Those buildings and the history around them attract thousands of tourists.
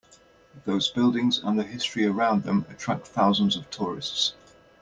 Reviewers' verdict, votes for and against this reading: accepted, 2, 0